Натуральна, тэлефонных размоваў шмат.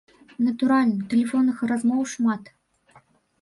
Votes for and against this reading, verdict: 2, 0, accepted